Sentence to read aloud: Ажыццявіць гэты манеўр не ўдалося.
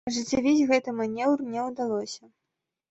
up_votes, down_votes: 2, 0